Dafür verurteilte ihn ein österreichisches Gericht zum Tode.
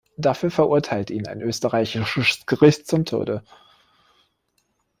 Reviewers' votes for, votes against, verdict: 1, 2, rejected